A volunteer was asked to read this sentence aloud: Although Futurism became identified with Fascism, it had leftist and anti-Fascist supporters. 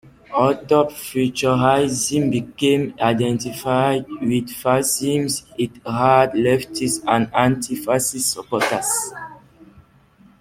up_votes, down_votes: 0, 2